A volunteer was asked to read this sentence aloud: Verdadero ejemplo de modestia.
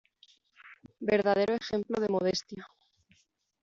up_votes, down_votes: 2, 0